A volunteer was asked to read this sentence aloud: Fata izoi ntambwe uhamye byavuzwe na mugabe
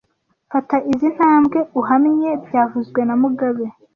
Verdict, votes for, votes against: accepted, 2, 0